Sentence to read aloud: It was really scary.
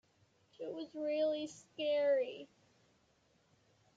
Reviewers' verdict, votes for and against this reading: rejected, 1, 2